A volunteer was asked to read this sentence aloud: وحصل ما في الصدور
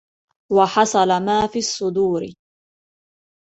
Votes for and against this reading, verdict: 2, 0, accepted